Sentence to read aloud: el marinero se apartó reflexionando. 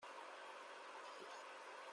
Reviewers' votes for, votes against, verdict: 0, 2, rejected